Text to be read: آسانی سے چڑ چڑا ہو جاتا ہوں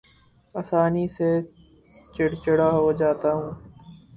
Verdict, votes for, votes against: rejected, 2, 2